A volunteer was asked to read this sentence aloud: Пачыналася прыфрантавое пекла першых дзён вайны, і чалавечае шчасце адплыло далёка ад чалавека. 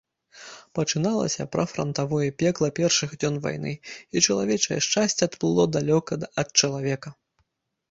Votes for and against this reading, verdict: 1, 2, rejected